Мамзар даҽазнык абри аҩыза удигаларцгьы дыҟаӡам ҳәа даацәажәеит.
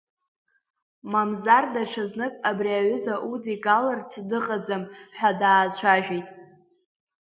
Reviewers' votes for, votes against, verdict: 3, 1, accepted